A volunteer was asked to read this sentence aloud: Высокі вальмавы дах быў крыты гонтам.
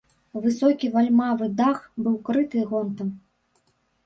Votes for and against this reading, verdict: 0, 2, rejected